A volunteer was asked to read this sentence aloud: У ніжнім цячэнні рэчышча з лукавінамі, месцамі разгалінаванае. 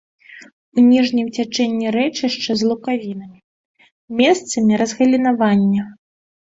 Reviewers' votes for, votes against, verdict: 0, 2, rejected